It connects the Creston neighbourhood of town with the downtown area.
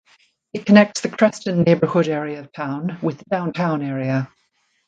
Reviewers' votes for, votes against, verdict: 1, 2, rejected